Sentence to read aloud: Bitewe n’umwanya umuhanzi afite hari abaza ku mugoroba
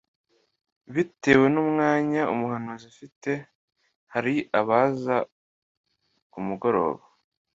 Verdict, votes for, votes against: accepted, 2, 0